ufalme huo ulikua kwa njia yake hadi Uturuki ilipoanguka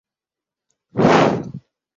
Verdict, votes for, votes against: rejected, 0, 5